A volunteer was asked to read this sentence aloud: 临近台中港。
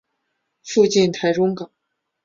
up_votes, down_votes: 0, 5